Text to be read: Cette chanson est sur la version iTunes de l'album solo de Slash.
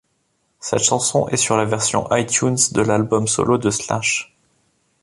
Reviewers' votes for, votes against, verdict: 2, 0, accepted